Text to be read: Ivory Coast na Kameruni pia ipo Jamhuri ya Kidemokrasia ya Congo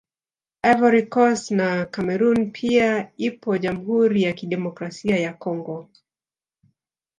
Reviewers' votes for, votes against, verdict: 1, 2, rejected